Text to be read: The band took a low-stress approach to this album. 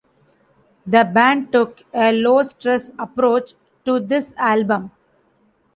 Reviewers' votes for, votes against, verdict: 2, 0, accepted